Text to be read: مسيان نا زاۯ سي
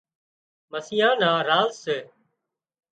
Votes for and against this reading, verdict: 1, 2, rejected